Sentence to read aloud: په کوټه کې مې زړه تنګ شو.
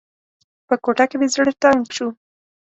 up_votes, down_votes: 2, 0